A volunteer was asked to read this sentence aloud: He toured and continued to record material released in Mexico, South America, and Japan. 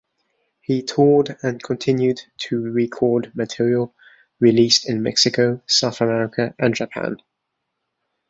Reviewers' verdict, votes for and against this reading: accepted, 2, 0